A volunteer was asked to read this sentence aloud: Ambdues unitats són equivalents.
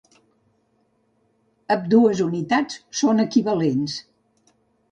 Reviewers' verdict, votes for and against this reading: rejected, 1, 2